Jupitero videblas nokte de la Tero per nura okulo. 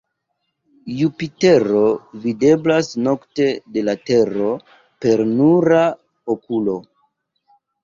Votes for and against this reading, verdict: 0, 2, rejected